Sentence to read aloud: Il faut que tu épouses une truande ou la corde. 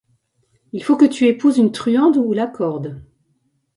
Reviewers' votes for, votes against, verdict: 2, 0, accepted